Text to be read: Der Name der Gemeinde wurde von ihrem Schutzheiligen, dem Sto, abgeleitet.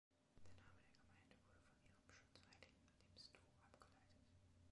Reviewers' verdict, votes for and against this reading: rejected, 0, 2